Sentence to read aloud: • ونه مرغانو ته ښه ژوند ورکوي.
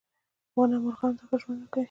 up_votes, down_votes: 2, 0